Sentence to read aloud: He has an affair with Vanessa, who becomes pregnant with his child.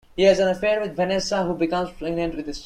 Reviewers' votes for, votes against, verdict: 0, 2, rejected